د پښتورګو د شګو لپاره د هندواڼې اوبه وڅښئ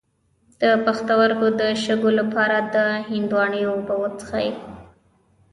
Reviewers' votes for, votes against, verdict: 1, 2, rejected